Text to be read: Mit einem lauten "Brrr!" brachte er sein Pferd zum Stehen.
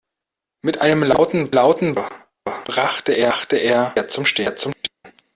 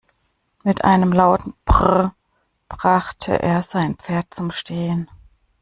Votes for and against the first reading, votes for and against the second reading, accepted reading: 0, 2, 2, 0, second